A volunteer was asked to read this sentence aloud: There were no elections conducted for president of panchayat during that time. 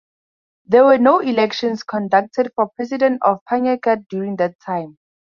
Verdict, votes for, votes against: rejected, 2, 2